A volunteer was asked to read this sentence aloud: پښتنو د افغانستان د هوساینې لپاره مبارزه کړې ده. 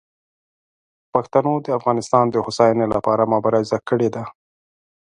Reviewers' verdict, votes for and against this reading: accepted, 2, 0